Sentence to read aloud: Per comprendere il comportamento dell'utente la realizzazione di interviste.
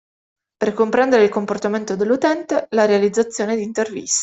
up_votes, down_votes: 0, 2